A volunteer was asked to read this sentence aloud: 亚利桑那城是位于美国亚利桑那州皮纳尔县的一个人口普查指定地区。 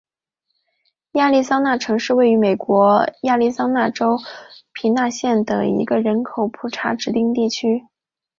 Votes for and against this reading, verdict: 2, 1, accepted